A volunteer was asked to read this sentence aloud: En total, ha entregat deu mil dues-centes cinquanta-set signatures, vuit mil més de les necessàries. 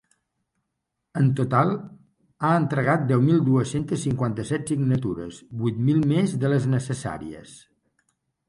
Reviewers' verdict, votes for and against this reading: accepted, 3, 0